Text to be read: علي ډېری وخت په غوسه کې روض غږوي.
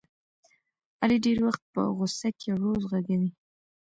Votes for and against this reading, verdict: 2, 0, accepted